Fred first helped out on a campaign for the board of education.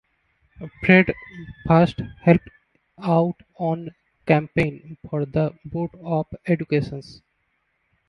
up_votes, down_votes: 0, 2